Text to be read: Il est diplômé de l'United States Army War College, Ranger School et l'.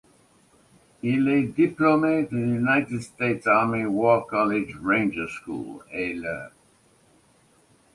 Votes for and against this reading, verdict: 2, 0, accepted